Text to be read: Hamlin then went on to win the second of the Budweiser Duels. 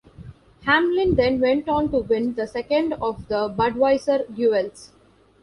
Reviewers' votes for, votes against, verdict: 2, 0, accepted